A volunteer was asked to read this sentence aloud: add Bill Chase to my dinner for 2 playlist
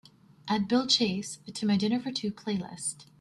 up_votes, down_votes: 0, 2